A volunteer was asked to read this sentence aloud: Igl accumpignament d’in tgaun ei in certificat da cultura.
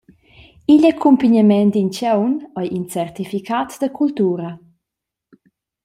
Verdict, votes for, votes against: accepted, 2, 0